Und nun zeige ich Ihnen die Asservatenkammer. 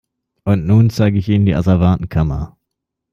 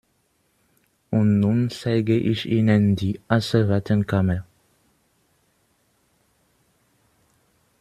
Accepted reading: first